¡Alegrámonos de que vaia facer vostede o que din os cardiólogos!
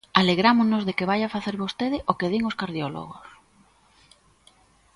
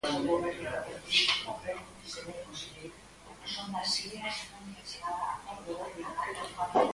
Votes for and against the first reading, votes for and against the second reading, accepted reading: 2, 0, 0, 4, first